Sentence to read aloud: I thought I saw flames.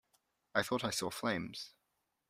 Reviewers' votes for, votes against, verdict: 2, 0, accepted